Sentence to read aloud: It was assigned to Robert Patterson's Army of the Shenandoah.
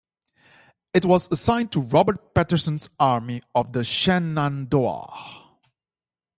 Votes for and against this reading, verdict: 2, 0, accepted